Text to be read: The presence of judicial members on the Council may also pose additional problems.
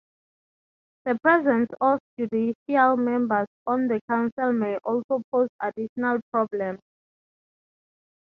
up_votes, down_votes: 6, 0